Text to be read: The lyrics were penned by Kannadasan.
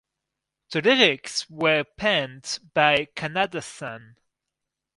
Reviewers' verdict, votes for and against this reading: rejected, 2, 2